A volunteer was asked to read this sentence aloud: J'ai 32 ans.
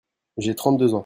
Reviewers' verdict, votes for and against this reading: rejected, 0, 2